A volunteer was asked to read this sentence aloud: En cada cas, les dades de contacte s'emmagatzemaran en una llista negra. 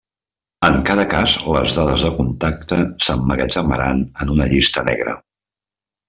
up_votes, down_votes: 3, 0